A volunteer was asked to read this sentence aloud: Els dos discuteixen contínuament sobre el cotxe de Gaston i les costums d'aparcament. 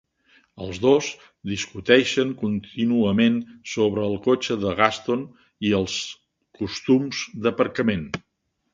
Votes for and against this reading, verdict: 1, 2, rejected